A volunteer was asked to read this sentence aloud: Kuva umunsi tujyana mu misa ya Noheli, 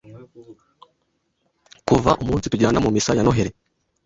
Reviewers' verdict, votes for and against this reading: accepted, 2, 0